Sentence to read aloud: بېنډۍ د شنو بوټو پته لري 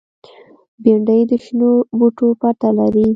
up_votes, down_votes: 2, 0